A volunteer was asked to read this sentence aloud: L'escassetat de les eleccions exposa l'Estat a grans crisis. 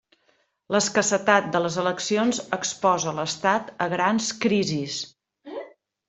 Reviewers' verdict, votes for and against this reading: accepted, 3, 0